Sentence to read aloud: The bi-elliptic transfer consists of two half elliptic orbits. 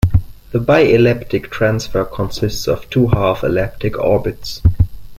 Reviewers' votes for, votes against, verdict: 3, 0, accepted